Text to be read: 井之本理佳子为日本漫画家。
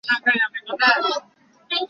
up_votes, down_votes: 2, 1